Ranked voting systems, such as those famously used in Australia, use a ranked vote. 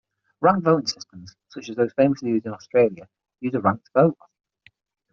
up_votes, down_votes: 3, 6